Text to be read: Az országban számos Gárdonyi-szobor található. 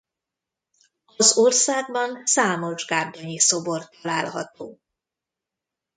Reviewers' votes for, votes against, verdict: 1, 2, rejected